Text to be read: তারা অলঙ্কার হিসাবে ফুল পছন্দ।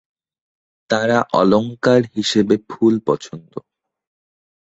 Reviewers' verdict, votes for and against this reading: rejected, 2, 4